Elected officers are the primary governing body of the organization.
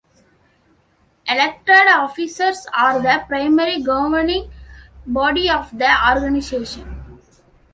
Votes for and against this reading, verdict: 1, 2, rejected